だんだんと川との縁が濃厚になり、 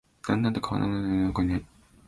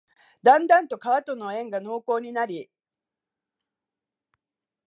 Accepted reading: second